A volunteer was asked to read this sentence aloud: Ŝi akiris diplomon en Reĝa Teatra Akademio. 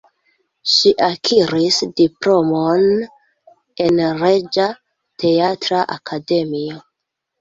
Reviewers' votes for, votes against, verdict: 1, 2, rejected